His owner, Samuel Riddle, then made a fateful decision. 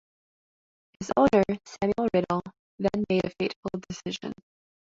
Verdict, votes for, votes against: rejected, 1, 2